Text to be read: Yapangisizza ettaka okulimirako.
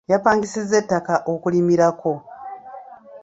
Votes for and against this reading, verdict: 2, 0, accepted